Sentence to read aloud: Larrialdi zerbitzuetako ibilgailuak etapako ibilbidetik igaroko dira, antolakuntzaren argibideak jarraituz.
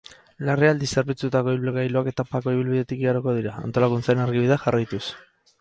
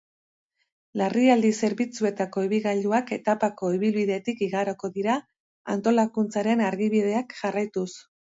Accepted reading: second